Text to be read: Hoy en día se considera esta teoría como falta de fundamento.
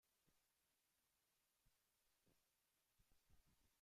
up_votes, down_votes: 0, 2